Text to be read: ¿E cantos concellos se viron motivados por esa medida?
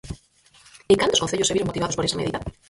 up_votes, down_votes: 2, 4